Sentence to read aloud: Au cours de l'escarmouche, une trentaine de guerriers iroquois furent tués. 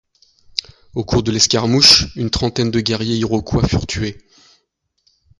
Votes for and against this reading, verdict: 2, 0, accepted